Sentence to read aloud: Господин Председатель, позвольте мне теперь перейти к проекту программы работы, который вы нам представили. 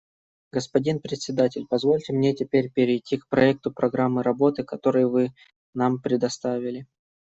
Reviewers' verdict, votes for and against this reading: rejected, 1, 2